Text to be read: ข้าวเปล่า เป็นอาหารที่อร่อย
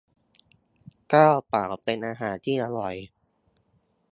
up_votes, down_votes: 2, 0